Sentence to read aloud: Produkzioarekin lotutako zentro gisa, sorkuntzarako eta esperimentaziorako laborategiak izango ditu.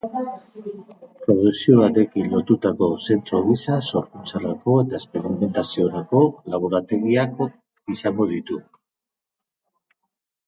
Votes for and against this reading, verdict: 0, 4, rejected